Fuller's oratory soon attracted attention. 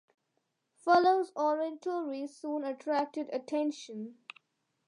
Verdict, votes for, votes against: accepted, 2, 0